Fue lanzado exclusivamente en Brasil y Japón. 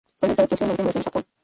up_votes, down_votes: 0, 2